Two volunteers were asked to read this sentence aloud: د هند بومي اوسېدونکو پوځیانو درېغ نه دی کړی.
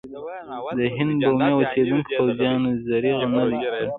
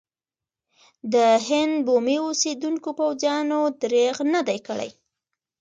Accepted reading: second